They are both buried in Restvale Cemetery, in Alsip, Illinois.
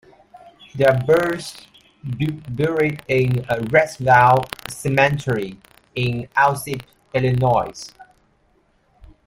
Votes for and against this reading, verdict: 0, 2, rejected